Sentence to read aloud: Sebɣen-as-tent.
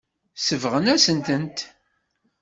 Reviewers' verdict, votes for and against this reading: rejected, 1, 2